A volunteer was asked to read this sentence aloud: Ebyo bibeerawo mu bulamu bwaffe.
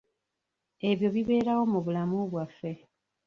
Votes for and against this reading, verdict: 1, 2, rejected